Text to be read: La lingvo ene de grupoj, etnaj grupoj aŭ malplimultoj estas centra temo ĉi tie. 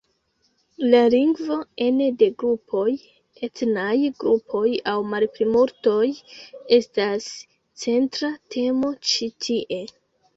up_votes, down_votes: 1, 2